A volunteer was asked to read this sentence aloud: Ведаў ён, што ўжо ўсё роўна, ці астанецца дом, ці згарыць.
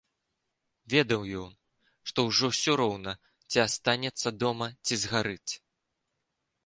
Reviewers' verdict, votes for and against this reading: rejected, 1, 2